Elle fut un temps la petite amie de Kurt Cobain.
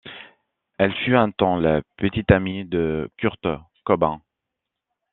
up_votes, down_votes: 2, 1